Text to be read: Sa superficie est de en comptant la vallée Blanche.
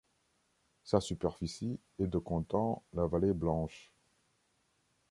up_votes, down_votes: 1, 2